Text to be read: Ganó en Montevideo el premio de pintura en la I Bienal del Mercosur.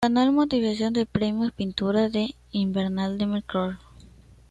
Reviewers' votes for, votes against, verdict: 0, 2, rejected